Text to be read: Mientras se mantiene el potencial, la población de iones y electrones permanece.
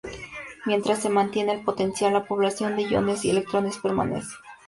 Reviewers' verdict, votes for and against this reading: accepted, 2, 0